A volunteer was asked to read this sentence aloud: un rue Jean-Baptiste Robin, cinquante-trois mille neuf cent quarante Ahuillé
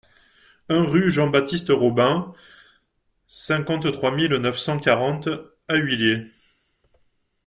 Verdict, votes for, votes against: accepted, 2, 0